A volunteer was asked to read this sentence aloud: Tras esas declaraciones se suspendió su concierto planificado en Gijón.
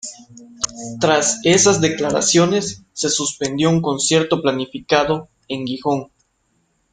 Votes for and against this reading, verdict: 1, 2, rejected